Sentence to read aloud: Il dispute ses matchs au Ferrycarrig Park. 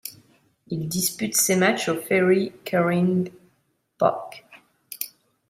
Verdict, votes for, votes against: rejected, 0, 2